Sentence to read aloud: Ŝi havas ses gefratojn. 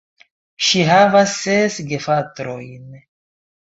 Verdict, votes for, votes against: accepted, 2, 1